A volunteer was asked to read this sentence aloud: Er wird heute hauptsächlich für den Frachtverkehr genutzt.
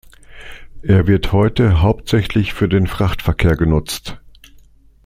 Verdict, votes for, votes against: accepted, 2, 0